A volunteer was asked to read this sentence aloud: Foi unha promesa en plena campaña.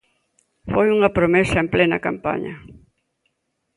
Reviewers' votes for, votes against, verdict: 2, 0, accepted